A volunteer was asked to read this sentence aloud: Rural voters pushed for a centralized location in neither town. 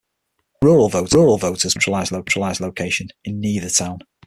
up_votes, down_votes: 0, 6